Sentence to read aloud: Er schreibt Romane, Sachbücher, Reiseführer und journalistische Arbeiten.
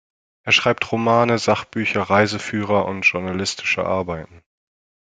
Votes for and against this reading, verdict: 2, 0, accepted